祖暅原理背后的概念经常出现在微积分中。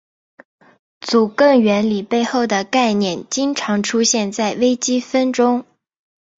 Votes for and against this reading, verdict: 1, 2, rejected